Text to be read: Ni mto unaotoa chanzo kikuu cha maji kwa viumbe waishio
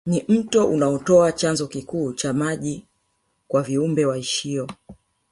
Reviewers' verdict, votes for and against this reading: rejected, 1, 2